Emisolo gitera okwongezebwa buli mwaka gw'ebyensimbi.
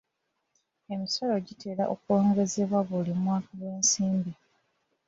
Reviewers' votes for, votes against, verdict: 1, 2, rejected